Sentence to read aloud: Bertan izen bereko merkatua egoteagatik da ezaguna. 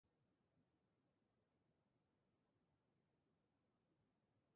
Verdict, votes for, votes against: rejected, 0, 3